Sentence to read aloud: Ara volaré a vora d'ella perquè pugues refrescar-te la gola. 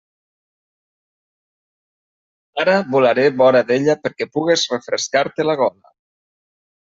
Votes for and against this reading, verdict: 1, 2, rejected